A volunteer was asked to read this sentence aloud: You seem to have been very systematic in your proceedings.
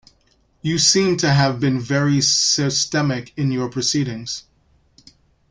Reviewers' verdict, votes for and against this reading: rejected, 0, 2